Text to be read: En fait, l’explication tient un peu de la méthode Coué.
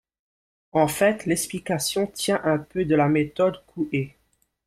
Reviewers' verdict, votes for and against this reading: rejected, 0, 2